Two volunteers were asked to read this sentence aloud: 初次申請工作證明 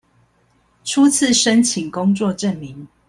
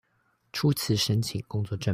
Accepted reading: first